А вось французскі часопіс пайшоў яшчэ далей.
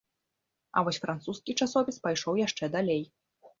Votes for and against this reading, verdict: 2, 0, accepted